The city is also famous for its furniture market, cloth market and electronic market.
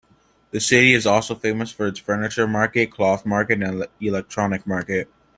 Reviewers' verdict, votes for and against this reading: accepted, 2, 0